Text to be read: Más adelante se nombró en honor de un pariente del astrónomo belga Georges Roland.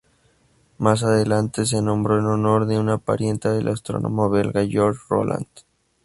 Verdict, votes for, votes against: rejected, 0, 2